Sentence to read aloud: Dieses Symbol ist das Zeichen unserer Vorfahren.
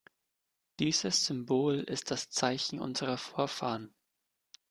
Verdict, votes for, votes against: accepted, 2, 0